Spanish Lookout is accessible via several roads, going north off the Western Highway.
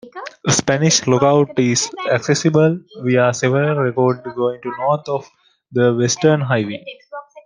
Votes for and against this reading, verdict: 2, 1, accepted